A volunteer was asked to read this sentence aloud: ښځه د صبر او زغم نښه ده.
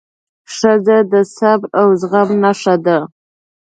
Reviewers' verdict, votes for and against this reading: accepted, 2, 0